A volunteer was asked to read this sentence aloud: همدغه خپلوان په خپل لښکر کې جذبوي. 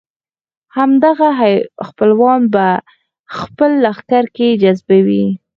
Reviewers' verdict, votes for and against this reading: accepted, 4, 0